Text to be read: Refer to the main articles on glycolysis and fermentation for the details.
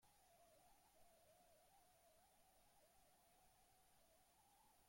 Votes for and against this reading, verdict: 0, 2, rejected